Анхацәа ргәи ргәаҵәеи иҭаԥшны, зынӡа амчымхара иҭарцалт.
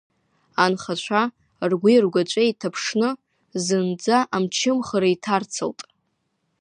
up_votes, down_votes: 2, 0